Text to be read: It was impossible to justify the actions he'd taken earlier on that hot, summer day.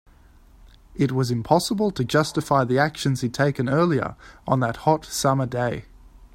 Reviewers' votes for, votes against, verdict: 2, 0, accepted